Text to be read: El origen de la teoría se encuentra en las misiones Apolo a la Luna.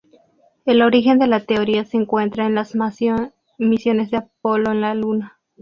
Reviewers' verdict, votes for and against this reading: rejected, 2, 2